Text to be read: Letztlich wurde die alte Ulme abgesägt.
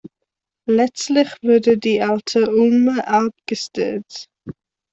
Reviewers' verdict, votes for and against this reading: rejected, 0, 2